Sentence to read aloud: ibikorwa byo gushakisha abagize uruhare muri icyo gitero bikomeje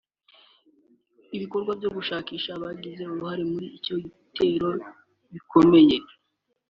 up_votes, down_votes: 1, 2